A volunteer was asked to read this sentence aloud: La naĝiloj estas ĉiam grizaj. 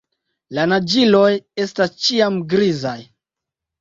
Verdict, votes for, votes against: accepted, 2, 0